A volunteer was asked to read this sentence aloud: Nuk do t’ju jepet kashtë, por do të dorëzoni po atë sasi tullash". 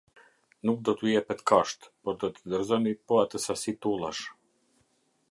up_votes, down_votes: 2, 0